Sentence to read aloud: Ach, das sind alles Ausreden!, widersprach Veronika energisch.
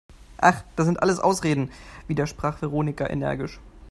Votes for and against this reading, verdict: 2, 0, accepted